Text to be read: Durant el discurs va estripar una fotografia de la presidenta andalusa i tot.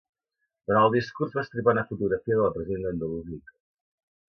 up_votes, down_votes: 0, 2